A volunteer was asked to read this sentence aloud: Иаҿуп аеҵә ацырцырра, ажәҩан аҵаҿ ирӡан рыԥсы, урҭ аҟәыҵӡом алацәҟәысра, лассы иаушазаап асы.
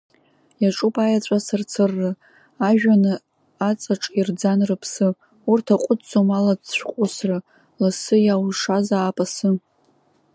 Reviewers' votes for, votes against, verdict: 0, 2, rejected